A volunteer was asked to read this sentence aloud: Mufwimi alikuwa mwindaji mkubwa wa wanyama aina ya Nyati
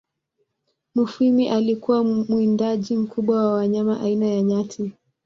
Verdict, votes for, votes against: rejected, 0, 2